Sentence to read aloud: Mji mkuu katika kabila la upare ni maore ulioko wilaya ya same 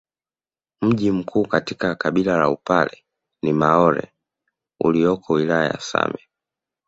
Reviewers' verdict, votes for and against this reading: accepted, 2, 0